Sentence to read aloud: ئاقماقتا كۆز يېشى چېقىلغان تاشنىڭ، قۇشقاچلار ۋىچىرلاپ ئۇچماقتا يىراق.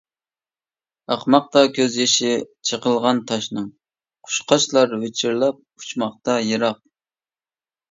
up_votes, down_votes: 2, 0